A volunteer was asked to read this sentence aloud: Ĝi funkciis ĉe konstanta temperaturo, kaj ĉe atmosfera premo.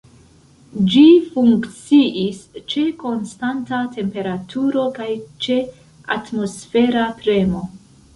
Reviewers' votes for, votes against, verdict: 1, 2, rejected